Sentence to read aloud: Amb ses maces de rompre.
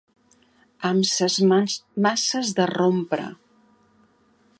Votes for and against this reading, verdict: 1, 2, rejected